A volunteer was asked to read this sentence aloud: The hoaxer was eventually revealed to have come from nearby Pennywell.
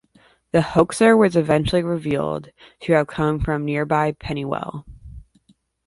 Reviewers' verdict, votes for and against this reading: accepted, 2, 0